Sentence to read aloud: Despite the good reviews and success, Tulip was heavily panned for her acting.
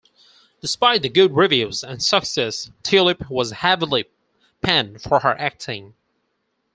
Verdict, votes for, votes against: accepted, 4, 0